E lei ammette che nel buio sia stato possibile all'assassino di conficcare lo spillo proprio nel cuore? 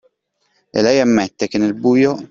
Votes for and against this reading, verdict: 0, 2, rejected